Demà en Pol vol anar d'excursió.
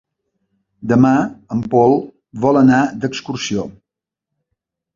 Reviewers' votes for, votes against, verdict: 3, 0, accepted